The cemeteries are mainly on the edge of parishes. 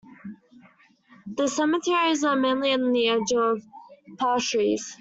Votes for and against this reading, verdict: 0, 2, rejected